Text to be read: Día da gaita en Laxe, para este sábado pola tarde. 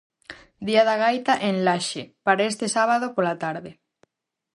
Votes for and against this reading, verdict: 4, 0, accepted